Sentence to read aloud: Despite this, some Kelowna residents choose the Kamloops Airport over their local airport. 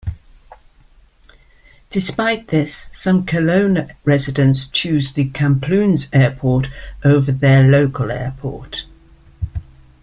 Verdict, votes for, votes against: accepted, 2, 0